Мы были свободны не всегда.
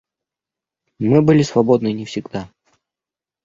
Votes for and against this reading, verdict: 2, 0, accepted